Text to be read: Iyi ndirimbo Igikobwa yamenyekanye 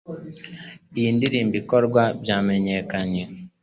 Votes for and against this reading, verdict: 1, 2, rejected